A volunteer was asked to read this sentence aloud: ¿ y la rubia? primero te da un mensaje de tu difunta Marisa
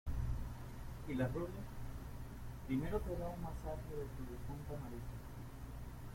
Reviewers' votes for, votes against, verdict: 0, 2, rejected